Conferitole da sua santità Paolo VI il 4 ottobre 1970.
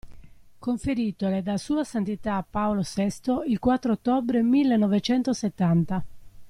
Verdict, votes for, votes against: rejected, 0, 2